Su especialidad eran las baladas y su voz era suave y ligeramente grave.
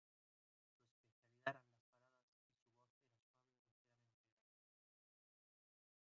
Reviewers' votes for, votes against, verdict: 0, 2, rejected